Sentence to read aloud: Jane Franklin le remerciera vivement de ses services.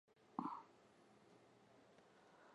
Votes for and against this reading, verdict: 0, 2, rejected